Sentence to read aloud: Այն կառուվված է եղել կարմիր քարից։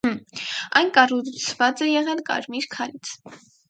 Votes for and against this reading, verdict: 0, 4, rejected